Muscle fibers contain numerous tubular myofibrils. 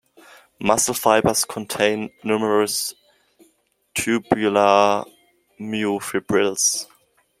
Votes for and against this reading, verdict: 2, 0, accepted